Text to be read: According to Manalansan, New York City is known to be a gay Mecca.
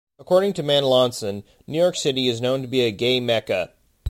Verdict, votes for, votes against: accepted, 2, 0